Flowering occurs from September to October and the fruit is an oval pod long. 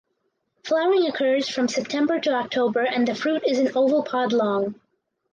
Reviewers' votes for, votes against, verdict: 4, 0, accepted